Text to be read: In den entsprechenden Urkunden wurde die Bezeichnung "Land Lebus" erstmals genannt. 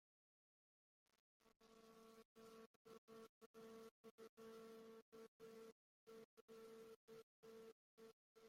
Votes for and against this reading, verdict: 0, 2, rejected